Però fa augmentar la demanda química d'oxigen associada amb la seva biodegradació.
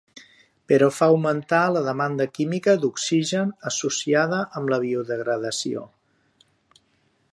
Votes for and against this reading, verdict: 0, 2, rejected